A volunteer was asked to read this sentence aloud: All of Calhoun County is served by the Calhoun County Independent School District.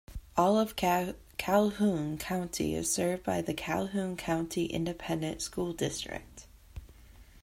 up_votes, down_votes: 2, 1